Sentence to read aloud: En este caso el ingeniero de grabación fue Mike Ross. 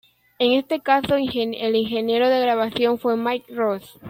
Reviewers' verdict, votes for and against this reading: rejected, 0, 2